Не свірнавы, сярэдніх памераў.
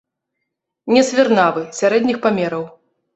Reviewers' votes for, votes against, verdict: 0, 2, rejected